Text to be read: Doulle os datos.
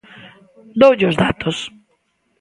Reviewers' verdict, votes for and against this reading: accepted, 2, 0